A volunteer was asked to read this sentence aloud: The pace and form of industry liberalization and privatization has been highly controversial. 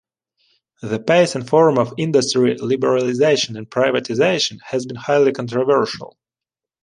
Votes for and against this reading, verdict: 2, 0, accepted